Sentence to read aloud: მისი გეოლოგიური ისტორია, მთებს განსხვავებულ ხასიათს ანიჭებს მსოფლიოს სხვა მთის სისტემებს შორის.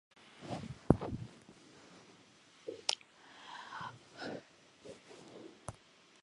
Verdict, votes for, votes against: rejected, 0, 2